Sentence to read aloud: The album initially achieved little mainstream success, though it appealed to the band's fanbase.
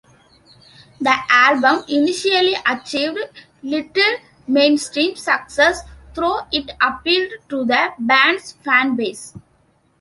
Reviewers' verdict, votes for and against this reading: accepted, 2, 1